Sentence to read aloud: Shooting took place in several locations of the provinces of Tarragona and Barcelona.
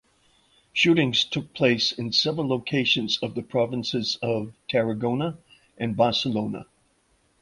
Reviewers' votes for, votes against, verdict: 0, 2, rejected